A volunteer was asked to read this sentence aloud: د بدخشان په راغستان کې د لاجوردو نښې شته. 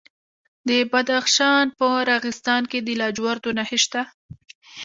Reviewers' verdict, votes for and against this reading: accepted, 2, 0